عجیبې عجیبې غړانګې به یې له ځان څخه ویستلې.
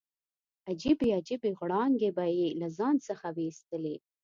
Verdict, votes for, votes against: accepted, 2, 0